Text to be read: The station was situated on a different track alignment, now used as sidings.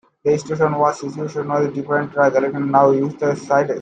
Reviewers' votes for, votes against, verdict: 0, 2, rejected